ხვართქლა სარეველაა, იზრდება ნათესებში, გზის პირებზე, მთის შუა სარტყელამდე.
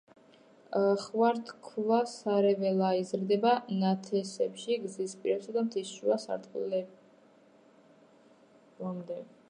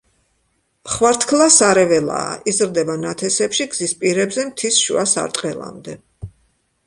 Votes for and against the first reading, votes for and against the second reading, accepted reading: 0, 3, 2, 0, second